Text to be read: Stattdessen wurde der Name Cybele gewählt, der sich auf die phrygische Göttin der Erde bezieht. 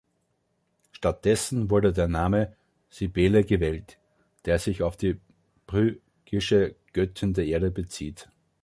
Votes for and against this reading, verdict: 1, 2, rejected